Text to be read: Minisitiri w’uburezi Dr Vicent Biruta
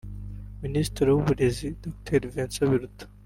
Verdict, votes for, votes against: rejected, 1, 2